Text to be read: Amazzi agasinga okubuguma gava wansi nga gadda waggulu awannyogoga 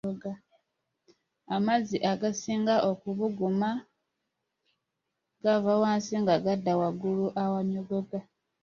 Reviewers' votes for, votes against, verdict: 2, 0, accepted